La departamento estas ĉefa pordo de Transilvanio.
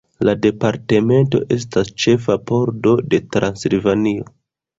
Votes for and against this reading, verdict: 2, 0, accepted